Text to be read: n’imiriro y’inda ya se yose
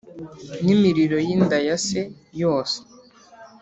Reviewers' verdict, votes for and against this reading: rejected, 1, 2